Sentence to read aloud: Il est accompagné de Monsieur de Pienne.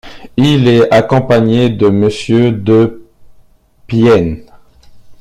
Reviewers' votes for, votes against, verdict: 1, 2, rejected